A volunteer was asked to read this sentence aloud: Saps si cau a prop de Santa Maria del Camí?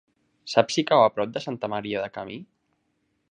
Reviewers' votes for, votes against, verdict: 0, 2, rejected